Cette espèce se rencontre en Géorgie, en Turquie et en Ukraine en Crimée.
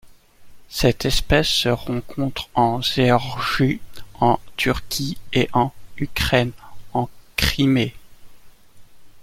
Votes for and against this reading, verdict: 1, 2, rejected